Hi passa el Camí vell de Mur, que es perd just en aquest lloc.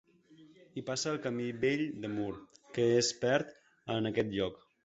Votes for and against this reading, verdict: 1, 2, rejected